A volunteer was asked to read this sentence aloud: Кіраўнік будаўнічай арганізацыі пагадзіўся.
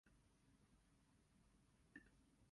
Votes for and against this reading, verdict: 0, 2, rejected